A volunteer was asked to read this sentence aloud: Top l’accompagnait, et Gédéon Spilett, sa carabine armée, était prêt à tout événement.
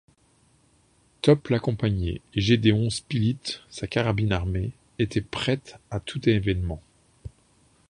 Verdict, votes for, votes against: rejected, 0, 2